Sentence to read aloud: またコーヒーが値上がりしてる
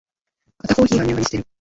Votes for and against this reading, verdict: 1, 2, rejected